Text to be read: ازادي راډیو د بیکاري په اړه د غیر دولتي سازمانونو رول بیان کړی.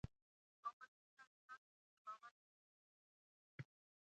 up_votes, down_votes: 1, 2